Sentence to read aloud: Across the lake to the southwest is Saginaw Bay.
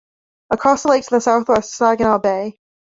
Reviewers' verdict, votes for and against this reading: rejected, 1, 2